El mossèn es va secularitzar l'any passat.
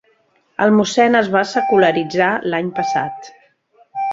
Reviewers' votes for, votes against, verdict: 0, 2, rejected